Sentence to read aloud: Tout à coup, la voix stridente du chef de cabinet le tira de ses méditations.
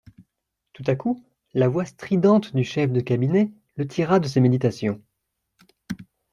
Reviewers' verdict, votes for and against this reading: accepted, 3, 0